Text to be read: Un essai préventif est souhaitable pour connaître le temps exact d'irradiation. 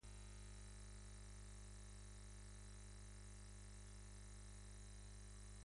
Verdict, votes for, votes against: rejected, 0, 2